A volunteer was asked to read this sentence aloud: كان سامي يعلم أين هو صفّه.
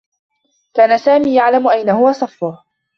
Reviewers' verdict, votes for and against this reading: accepted, 2, 1